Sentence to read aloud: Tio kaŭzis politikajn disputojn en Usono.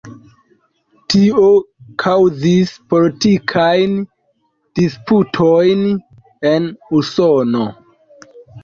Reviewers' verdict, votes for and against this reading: rejected, 0, 2